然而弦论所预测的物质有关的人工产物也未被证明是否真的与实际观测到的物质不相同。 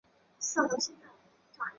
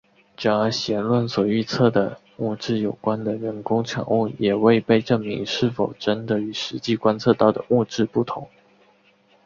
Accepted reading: second